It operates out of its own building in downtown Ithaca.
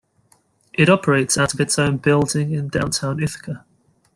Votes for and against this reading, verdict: 2, 0, accepted